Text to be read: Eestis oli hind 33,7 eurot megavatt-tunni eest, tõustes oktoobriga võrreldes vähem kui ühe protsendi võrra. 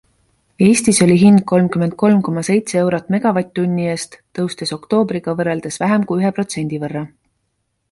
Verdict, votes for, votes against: rejected, 0, 2